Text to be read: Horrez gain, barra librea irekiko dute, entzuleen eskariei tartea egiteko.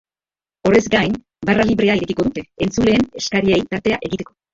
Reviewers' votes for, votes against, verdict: 0, 2, rejected